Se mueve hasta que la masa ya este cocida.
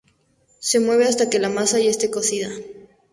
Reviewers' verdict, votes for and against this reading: accepted, 2, 0